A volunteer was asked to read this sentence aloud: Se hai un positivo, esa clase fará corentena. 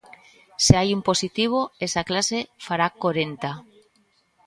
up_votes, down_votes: 0, 2